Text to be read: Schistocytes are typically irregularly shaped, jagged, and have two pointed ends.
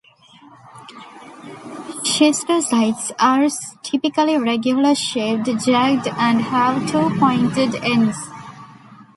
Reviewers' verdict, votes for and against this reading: rejected, 0, 2